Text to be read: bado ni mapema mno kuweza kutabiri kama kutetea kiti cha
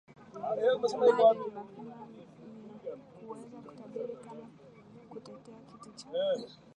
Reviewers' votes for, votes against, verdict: 0, 2, rejected